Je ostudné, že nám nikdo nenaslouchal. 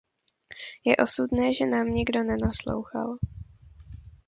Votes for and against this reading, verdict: 0, 2, rejected